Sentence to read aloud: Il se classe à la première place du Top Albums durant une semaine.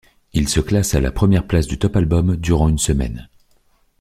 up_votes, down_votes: 2, 1